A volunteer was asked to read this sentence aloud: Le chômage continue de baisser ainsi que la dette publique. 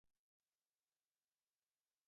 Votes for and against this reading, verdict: 0, 2, rejected